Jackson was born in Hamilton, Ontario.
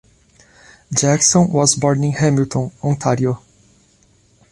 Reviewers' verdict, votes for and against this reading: accepted, 2, 0